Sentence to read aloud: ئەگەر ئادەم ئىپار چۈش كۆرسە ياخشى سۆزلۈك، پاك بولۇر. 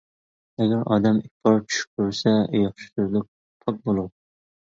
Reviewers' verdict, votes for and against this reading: rejected, 0, 2